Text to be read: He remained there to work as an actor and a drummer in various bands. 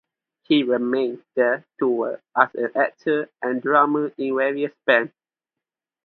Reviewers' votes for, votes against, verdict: 0, 2, rejected